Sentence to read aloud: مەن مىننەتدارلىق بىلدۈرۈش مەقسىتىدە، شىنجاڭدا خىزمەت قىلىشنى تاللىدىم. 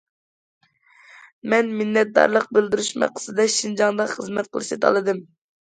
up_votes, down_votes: 2, 0